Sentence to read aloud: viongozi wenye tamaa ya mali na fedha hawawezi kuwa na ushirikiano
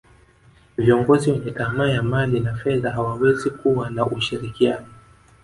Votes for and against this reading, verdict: 2, 1, accepted